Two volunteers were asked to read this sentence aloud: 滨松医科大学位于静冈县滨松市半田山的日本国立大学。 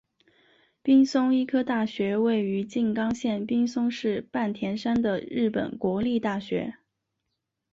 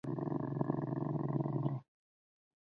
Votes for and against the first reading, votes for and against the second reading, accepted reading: 5, 0, 0, 3, first